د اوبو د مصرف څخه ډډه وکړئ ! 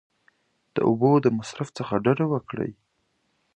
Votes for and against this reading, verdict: 2, 0, accepted